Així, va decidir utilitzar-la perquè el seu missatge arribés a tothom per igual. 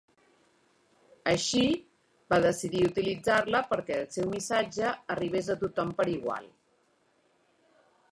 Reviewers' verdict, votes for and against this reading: accepted, 3, 2